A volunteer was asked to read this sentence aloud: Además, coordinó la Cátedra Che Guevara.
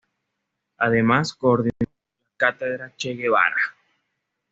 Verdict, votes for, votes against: rejected, 0, 2